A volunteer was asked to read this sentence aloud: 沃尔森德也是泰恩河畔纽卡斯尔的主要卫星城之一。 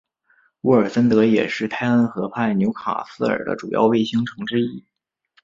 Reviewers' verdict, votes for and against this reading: accepted, 2, 0